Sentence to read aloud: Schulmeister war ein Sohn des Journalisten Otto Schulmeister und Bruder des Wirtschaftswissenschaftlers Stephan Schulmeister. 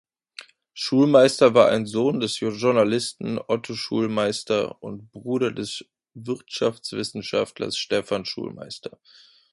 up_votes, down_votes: 2, 0